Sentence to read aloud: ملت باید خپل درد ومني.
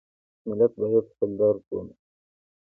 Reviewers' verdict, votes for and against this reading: rejected, 1, 2